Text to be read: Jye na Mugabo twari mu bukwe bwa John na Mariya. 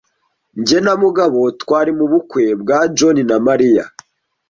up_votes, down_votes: 2, 0